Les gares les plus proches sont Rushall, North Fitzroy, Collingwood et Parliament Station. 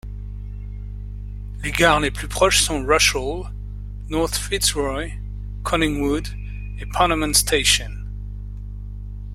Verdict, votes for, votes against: accepted, 2, 0